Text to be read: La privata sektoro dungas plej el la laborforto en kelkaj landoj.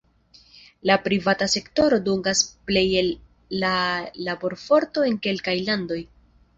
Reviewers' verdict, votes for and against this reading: accepted, 2, 0